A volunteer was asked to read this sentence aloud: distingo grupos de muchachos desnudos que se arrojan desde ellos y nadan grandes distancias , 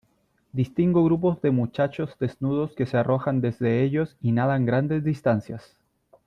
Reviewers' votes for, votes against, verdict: 2, 0, accepted